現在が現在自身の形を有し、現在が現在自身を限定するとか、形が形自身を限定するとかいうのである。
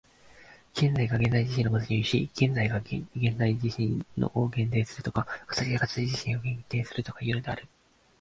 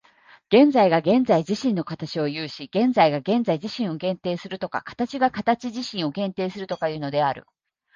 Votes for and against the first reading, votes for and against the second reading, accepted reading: 1, 2, 2, 0, second